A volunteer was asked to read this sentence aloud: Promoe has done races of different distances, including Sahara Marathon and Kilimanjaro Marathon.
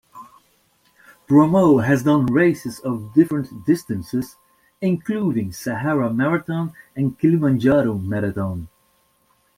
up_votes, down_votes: 1, 2